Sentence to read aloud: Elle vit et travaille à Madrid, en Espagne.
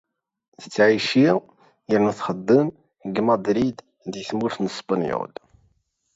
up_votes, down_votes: 0, 2